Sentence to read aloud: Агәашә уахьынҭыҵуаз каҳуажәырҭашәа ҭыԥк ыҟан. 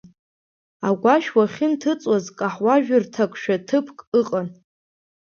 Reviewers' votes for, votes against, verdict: 1, 2, rejected